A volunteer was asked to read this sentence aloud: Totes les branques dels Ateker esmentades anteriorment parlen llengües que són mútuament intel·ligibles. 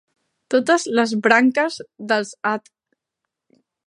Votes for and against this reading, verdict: 0, 2, rejected